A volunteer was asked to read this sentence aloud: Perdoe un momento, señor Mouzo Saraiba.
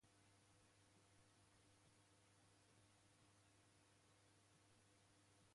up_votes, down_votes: 0, 2